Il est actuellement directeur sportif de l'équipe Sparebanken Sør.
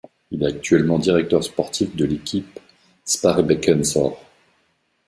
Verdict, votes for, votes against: rejected, 1, 2